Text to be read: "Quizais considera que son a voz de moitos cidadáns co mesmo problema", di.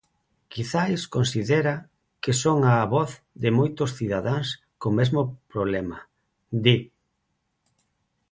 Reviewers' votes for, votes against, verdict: 2, 2, rejected